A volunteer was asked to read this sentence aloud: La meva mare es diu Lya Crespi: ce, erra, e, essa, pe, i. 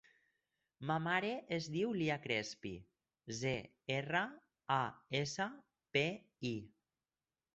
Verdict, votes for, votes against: rejected, 0, 4